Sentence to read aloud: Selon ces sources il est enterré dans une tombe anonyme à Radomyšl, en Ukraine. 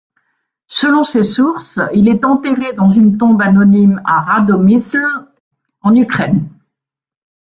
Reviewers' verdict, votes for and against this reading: accepted, 2, 0